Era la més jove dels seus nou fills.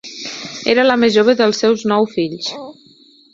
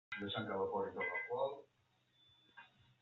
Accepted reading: first